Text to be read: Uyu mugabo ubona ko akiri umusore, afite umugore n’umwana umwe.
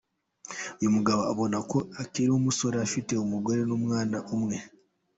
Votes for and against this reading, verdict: 2, 1, accepted